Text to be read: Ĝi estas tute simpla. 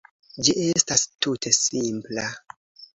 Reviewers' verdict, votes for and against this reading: accepted, 2, 0